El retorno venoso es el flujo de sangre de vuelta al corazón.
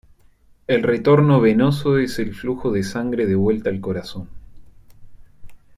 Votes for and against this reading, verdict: 2, 0, accepted